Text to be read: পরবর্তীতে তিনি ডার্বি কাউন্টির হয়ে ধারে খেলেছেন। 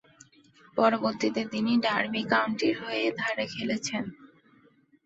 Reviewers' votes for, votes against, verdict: 2, 0, accepted